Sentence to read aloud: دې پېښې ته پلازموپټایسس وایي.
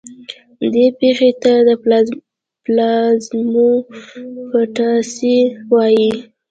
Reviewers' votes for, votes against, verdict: 0, 2, rejected